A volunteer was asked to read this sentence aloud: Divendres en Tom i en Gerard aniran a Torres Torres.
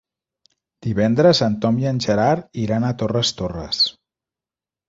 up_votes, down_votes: 1, 3